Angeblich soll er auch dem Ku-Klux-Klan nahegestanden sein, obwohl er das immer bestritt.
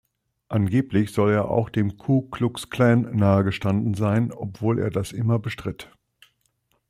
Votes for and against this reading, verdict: 2, 0, accepted